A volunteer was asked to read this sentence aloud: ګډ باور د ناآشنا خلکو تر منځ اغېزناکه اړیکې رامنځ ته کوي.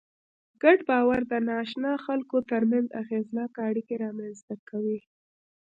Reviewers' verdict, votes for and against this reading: accepted, 2, 0